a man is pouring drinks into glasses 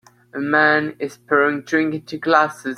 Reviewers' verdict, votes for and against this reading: rejected, 1, 2